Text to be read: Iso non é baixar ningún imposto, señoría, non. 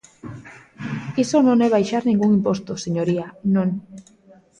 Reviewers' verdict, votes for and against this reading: accepted, 2, 0